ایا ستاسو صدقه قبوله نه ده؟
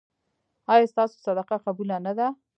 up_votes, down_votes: 1, 2